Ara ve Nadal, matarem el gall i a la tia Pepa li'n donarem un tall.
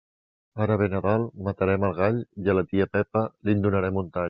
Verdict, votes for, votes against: accepted, 2, 0